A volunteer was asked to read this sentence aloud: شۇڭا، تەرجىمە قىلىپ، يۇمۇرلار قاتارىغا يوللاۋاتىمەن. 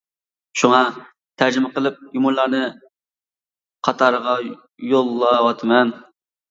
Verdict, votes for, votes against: rejected, 0, 2